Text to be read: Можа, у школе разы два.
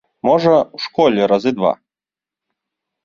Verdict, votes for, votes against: accepted, 3, 0